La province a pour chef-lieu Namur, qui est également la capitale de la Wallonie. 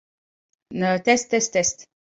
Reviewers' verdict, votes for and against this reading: rejected, 0, 2